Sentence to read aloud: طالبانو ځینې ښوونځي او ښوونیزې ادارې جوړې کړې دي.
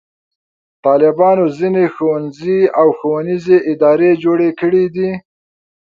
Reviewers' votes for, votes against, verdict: 2, 0, accepted